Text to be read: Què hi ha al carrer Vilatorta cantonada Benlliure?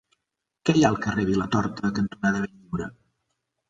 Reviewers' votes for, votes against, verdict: 2, 1, accepted